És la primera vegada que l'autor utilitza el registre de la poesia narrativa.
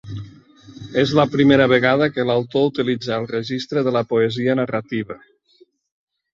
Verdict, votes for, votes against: rejected, 1, 2